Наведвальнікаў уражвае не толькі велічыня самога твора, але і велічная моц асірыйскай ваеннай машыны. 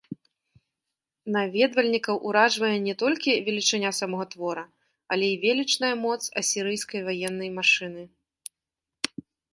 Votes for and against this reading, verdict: 2, 1, accepted